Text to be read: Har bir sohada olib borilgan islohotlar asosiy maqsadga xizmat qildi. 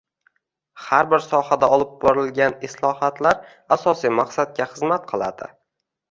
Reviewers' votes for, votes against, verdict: 0, 2, rejected